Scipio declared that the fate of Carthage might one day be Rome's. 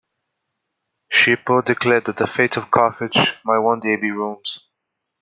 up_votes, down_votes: 2, 0